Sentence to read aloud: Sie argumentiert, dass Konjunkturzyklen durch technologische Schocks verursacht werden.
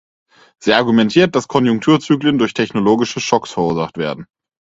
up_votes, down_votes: 4, 0